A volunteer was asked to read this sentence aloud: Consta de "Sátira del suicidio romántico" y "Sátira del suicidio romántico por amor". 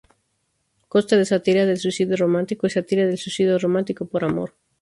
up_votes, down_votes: 0, 6